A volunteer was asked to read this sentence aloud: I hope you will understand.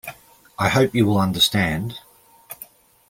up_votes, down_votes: 2, 0